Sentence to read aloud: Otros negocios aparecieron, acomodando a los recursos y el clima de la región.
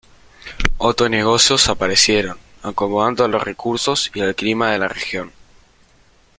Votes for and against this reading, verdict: 1, 2, rejected